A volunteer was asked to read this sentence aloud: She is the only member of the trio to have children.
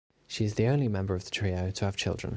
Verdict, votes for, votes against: accepted, 2, 0